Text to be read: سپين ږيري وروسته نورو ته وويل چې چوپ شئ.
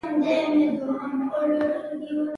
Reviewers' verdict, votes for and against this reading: rejected, 1, 2